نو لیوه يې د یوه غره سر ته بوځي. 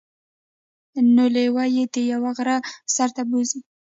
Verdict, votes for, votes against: rejected, 0, 2